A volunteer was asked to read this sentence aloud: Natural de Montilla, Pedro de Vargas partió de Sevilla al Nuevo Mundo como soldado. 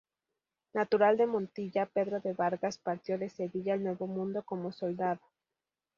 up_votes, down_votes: 4, 0